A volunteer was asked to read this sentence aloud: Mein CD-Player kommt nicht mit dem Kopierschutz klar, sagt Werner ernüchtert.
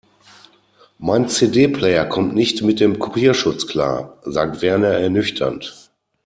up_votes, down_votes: 0, 2